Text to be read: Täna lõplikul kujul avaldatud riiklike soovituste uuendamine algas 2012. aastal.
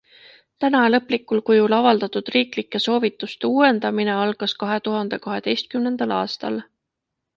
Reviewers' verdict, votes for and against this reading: rejected, 0, 2